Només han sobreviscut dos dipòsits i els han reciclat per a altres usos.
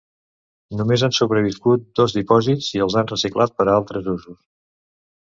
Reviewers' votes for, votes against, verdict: 2, 0, accepted